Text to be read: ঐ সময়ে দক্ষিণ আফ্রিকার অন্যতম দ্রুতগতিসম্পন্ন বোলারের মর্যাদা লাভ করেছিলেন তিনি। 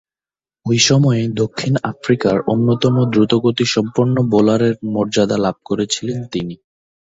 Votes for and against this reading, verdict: 2, 1, accepted